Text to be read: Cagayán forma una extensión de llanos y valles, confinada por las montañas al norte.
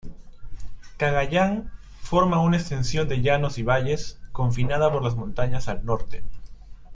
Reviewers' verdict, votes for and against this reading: accepted, 2, 0